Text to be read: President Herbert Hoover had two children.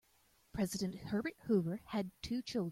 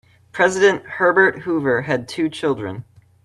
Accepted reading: second